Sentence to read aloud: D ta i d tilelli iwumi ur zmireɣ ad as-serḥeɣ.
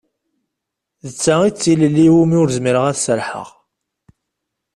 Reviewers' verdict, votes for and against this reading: accepted, 2, 0